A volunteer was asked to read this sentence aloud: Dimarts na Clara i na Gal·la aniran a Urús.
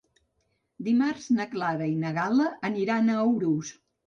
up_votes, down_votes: 0, 2